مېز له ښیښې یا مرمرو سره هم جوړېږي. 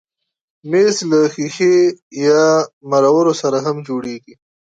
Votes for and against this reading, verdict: 1, 2, rejected